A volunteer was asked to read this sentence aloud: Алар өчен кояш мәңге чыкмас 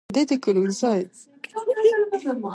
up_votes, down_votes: 0, 2